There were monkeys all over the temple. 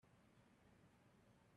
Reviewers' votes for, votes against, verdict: 0, 2, rejected